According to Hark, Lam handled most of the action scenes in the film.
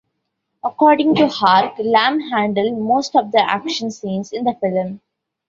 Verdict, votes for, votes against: rejected, 1, 2